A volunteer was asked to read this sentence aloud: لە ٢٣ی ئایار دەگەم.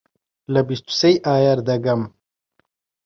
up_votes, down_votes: 0, 2